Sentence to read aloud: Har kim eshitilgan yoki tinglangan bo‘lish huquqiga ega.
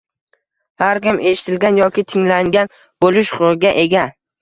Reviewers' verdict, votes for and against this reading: accepted, 2, 0